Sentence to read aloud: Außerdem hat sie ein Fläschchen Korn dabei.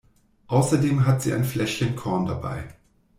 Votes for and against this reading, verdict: 2, 0, accepted